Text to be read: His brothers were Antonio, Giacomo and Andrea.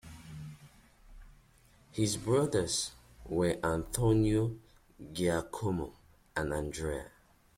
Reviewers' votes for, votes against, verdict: 2, 0, accepted